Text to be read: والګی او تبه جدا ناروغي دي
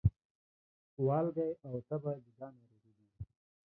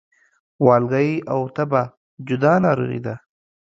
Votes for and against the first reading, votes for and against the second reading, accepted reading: 1, 2, 2, 1, second